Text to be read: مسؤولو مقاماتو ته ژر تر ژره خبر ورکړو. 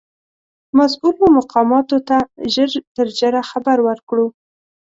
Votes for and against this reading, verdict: 2, 0, accepted